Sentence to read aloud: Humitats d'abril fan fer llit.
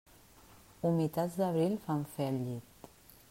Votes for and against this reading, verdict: 0, 2, rejected